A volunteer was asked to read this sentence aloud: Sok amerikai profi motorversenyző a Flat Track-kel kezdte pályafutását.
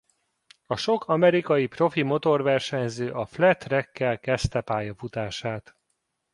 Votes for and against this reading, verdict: 0, 2, rejected